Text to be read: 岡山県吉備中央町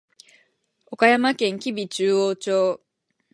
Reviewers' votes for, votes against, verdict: 18, 0, accepted